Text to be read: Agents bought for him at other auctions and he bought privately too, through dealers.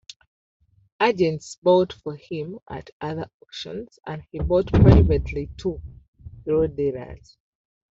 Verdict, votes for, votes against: rejected, 0, 2